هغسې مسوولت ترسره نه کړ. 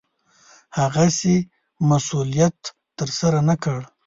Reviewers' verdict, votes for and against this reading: rejected, 0, 2